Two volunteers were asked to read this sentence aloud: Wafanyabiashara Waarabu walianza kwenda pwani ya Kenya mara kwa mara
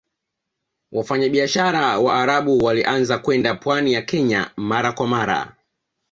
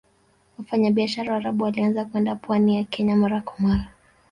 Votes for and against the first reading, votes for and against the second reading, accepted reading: 2, 1, 1, 2, first